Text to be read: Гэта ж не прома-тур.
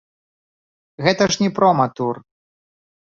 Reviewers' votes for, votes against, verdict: 1, 2, rejected